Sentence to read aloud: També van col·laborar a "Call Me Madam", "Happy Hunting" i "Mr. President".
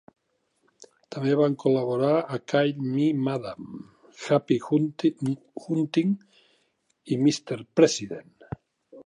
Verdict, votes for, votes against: rejected, 0, 3